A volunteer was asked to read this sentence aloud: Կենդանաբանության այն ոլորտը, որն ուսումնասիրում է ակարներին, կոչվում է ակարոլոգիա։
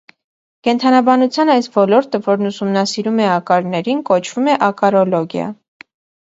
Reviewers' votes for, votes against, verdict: 1, 2, rejected